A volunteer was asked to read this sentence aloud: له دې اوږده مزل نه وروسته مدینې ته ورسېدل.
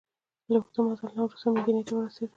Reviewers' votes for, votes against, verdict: 2, 0, accepted